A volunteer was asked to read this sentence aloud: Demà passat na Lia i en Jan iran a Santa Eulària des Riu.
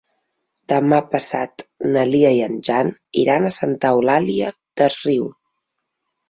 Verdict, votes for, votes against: accepted, 2, 0